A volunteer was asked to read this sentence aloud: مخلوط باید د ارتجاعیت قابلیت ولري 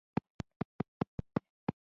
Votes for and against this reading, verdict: 0, 2, rejected